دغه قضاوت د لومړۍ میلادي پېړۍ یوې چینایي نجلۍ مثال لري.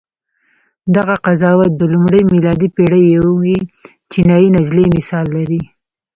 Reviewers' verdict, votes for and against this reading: accepted, 2, 0